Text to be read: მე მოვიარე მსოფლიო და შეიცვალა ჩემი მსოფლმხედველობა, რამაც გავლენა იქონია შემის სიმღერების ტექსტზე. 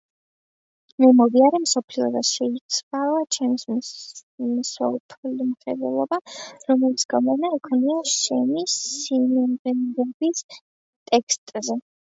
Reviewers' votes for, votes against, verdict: 0, 2, rejected